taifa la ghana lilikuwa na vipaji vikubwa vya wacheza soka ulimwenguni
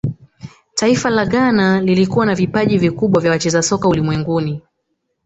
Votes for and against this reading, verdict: 2, 1, accepted